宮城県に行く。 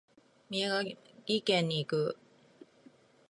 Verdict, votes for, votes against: accepted, 2, 0